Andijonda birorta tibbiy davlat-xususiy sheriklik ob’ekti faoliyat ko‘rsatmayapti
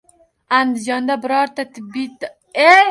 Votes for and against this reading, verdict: 1, 2, rejected